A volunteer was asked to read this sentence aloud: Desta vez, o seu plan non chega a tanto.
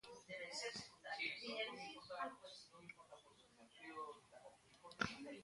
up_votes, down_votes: 0, 2